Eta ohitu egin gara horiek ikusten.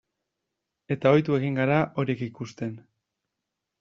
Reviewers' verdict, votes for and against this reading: rejected, 0, 2